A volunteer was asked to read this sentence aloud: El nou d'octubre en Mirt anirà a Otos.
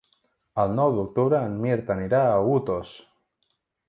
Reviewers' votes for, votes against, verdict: 1, 2, rejected